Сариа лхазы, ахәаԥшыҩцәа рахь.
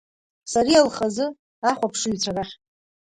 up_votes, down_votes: 1, 2